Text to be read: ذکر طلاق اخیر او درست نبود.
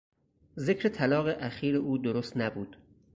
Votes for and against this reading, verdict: 4, 0, accepted